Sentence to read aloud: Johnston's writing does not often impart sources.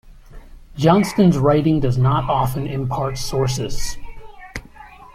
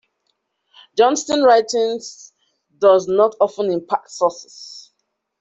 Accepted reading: first